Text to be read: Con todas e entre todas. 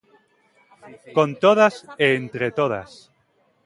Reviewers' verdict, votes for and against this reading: rejected, 1, 2